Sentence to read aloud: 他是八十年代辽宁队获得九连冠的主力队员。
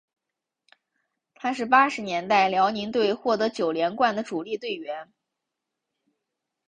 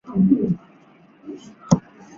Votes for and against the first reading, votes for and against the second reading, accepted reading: 4, 0, 0, 3, first